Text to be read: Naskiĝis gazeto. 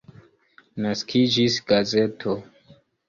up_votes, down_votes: 2, 1